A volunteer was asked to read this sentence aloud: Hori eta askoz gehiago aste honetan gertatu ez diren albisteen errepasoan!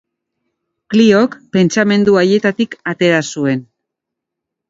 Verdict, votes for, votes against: rejected, 0, 2